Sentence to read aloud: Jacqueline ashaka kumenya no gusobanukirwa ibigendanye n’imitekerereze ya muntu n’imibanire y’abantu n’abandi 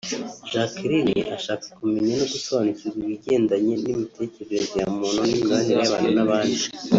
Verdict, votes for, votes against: accepted, 2, 0